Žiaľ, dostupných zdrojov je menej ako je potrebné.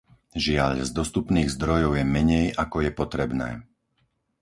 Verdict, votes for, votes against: rejected, 2, 4